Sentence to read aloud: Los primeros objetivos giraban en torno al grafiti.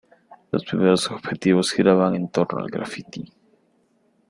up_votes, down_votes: 1, 2